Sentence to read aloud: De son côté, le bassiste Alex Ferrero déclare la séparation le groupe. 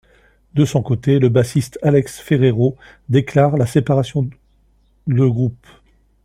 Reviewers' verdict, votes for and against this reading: rejected, 1, 2